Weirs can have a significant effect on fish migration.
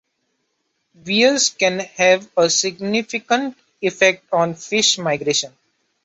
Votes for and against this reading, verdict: 2, 0, accepted